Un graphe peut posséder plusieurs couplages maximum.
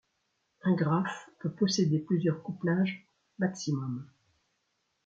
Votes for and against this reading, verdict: 3, 0, accepted